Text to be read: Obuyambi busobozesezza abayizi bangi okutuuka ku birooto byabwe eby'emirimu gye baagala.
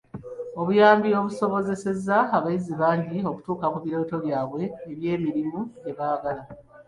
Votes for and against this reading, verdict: 0, 2, rejected